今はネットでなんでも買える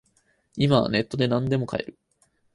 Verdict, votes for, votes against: rejected, 2, 2